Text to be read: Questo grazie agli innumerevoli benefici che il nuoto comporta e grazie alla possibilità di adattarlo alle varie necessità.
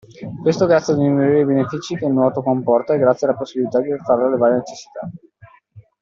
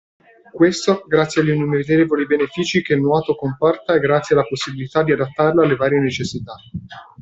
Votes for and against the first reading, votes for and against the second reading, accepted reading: 0, 2, 2, 0, second